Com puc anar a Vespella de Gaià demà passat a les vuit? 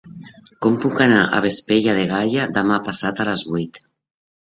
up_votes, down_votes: 2, 3